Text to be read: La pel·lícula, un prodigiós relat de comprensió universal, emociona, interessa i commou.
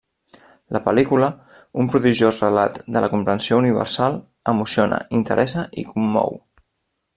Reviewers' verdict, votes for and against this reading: rejected, 1, 2